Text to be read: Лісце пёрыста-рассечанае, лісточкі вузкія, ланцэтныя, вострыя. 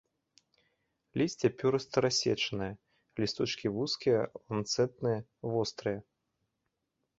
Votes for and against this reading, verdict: 2, 0, accepted